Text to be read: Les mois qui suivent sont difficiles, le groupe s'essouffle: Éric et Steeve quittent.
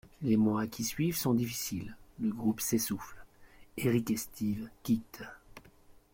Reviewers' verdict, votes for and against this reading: accepted, 2, 0